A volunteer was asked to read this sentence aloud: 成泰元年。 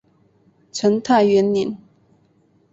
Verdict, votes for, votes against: accepted, 3, 2